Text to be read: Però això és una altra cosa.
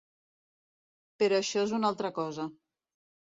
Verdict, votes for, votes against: accepted, 2, 1